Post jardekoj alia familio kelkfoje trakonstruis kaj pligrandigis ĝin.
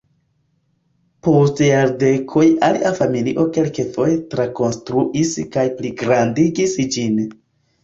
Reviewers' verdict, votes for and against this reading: rejected, 0, 2